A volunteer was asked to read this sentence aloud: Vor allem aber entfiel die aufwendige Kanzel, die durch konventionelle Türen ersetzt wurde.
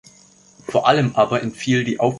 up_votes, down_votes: 0, 2